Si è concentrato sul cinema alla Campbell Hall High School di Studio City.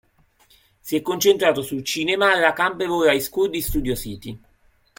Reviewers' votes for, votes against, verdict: 3, 0, accepted